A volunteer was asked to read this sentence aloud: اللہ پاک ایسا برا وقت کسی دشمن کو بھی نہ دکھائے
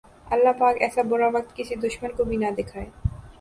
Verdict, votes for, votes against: accepted, 3, 0